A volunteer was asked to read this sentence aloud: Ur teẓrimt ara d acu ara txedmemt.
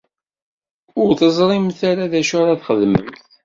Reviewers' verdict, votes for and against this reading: accepted, 2, 0